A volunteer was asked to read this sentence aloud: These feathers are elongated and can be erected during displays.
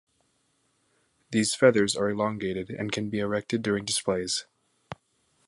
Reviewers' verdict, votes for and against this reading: accepted, 2, 1